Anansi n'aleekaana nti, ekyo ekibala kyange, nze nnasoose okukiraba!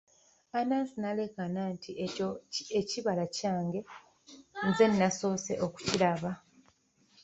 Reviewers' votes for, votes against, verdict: 0, 2, rejected